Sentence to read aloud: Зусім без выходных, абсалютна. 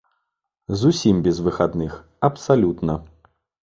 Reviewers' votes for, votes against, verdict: 0, 2, rejected